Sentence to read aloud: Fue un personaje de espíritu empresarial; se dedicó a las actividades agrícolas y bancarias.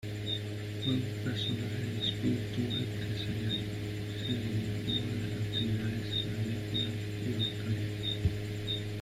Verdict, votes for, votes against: rejected, 0, 2